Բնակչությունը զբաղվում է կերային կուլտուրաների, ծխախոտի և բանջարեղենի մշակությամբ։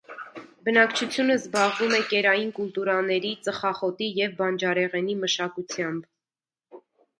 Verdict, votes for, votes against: rejected, 0, 2